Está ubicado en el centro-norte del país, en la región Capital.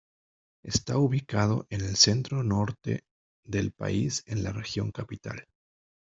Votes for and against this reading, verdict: 2, 1, accepted